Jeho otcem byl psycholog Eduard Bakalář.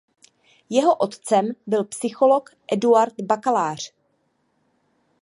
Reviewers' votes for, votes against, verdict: 2, 0, accepted